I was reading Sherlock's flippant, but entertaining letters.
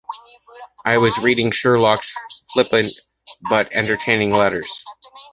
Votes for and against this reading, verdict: 2, 0, accepted